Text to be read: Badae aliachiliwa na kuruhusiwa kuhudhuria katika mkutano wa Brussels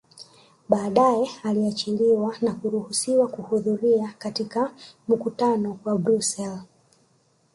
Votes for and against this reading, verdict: 2, 0, accepted